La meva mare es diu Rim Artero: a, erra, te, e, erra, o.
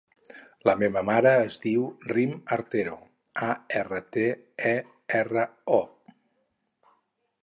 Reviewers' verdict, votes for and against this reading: rejected, 0, 2